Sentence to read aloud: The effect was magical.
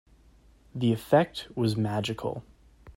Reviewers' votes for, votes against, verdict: 2, 0, accepted